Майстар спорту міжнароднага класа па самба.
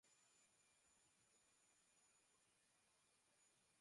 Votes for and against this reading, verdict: 0, 2, rejected